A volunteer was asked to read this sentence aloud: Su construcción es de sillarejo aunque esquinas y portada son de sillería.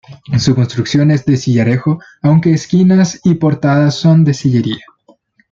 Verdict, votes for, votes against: accepted, 2, 0